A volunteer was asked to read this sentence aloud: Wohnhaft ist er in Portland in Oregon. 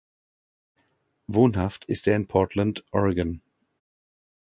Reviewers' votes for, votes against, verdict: 1, 2, rejected